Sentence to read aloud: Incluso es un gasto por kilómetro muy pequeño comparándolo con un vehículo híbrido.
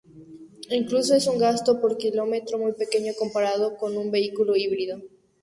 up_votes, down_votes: 0, 2